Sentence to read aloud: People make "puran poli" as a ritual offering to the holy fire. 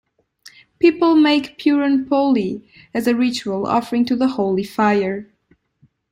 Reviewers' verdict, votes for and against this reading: accepted, 2, 0